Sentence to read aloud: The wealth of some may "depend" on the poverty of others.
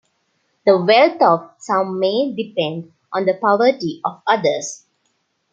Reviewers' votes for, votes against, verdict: 2, 0, accepted